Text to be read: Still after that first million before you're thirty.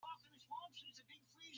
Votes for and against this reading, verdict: 1, 2, rejected